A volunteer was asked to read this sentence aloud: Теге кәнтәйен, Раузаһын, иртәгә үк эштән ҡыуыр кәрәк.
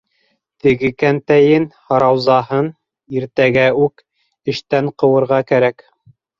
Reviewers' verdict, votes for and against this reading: rejected, 2, 3